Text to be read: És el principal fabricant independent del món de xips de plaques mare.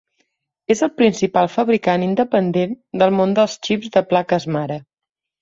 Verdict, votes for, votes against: rejected, 0, 2